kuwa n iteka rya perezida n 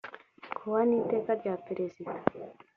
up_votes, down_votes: 2, 0